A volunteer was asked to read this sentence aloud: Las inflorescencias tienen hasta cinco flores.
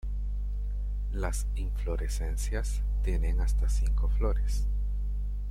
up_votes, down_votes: 2, 1